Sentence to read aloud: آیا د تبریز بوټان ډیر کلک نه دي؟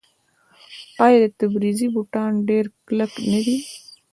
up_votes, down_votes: 2, 0